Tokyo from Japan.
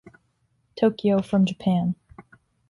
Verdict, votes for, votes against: accepted, 2, 0